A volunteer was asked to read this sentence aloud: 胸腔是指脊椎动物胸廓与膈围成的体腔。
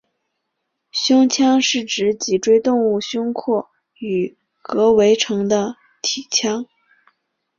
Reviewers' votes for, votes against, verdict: 4, 0, accepted